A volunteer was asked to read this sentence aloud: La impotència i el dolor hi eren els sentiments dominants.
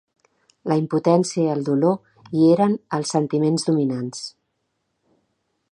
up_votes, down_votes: 2, 0